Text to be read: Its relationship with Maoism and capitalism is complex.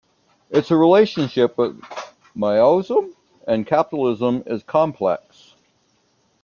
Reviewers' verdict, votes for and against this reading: rejected, 0, 2